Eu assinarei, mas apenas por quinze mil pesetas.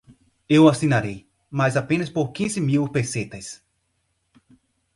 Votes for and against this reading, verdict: 4, 0, accepted